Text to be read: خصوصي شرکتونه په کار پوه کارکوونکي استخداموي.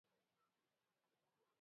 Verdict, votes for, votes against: rejected, 0, 2